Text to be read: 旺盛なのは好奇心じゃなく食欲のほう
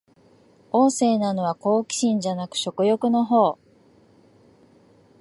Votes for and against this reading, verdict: 2, 0, accepted